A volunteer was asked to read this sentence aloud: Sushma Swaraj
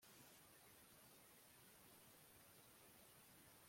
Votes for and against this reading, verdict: 0, 2, rejected